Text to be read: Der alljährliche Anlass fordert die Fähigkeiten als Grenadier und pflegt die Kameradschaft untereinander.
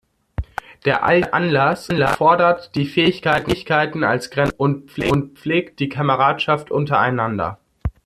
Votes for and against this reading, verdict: 0, 2, rejected